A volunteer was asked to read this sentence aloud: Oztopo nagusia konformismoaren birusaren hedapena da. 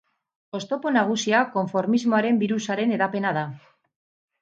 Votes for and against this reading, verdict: 2, 2, rejected